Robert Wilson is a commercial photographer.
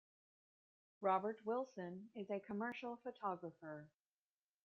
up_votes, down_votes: 0, 2